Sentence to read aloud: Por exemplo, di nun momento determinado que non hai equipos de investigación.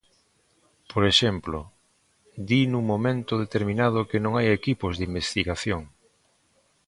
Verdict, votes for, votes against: accepted, 2, 0